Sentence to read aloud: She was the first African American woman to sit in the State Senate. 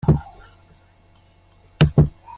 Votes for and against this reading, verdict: 0, 2, rejected